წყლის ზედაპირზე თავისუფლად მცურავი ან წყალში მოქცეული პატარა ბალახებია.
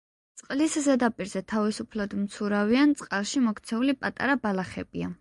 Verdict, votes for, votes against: accepted, 2, 0